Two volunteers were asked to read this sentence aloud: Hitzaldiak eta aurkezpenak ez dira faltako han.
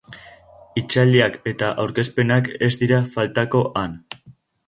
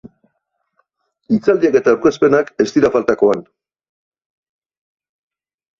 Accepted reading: second